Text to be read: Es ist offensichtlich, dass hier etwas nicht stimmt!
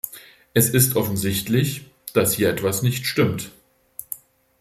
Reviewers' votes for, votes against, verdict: 2, 0, accepted